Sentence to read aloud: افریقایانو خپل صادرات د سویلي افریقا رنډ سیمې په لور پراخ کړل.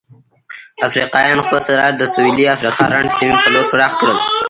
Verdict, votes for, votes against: rejected, 0, 3